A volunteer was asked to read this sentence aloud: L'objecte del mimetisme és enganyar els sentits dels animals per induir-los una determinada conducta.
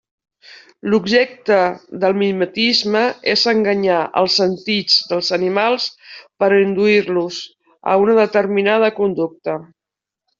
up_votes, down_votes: 0, 2